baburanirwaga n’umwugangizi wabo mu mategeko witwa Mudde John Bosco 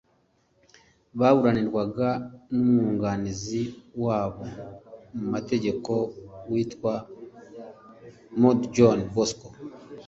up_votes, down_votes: 2, 0